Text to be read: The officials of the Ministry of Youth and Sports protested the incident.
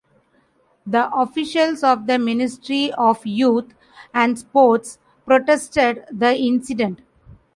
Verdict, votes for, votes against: accepted, 2, 0